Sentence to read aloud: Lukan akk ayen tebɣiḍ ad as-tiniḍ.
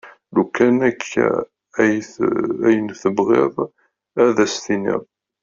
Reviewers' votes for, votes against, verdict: 0, 2, rejected